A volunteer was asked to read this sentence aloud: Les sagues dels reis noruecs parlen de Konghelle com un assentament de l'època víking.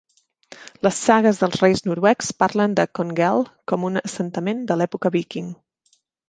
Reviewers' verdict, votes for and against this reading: accepted, 2, 0